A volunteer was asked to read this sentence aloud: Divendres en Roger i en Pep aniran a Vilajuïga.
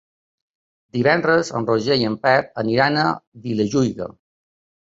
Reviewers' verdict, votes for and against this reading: accepted, 2, 0